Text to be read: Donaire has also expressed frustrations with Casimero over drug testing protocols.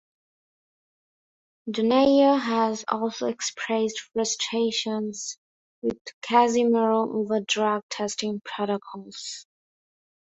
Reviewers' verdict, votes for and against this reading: accepted, 2, 0